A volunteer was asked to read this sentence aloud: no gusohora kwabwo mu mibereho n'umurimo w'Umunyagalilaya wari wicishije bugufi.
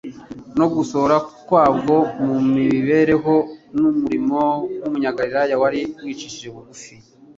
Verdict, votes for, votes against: accepted, 3, 0